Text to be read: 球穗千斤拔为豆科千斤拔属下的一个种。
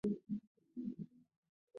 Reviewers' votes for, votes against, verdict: 0, 3, rejected